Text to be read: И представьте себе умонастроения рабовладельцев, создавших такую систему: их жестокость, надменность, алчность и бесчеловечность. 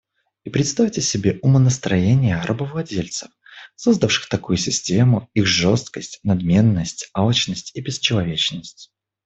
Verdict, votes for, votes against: rejected, 1, 2